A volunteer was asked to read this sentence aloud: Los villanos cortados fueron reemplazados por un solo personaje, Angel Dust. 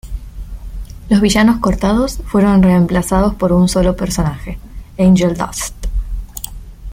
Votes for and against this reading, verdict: 2, 0, accepted